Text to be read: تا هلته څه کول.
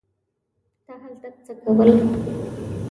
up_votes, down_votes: 1, 2